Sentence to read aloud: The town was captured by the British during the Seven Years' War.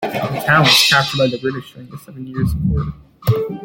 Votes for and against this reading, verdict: 1, 2, rejected